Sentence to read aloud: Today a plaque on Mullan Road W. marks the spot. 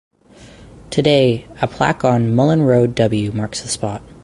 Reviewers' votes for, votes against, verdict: 4, 0, accepted